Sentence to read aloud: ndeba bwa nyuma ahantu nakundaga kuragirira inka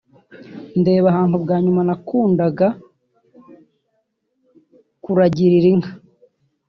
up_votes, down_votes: 0, 2